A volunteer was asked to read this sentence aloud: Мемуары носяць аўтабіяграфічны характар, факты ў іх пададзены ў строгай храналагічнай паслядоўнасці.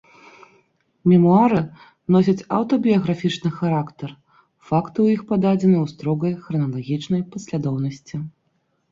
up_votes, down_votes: 2, 0